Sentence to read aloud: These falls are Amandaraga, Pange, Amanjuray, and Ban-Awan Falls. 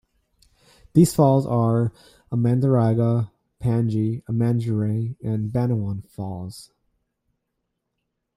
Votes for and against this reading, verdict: 2, 1, accepted